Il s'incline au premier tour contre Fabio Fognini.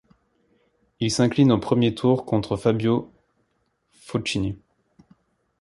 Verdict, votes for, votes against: rejected, 1, 2